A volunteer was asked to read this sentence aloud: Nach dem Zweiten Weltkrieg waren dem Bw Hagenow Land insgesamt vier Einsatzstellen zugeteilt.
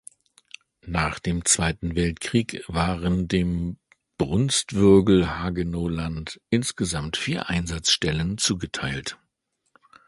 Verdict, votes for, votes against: accepted, 2, 1